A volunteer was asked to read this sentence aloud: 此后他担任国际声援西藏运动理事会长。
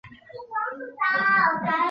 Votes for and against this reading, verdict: 0, 3, rejected